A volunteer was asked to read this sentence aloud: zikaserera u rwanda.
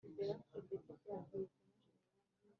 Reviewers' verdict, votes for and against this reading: rejected, 1, 3